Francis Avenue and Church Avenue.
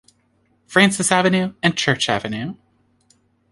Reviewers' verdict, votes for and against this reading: accepted, 2, 0